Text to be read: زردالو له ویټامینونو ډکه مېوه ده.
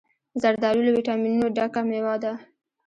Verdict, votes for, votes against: rejected, 0, 2